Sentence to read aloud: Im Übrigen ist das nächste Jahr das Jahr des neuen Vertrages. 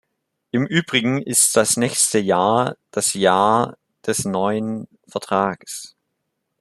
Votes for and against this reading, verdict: 2, 0, accepted